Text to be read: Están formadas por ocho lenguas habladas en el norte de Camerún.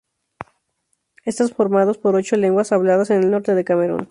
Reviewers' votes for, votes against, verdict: 0, 2, rejected